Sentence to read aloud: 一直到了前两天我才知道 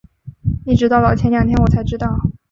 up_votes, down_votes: 5, 0